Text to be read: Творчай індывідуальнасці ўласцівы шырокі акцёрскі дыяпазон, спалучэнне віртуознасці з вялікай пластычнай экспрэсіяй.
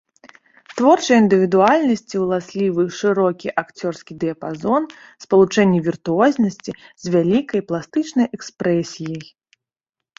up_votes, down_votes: 1, 2